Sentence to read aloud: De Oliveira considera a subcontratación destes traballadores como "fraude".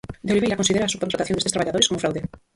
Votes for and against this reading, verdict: 0, 4, rejected